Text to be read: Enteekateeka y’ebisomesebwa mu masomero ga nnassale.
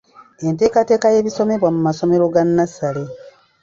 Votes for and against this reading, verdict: 1, 2, rejected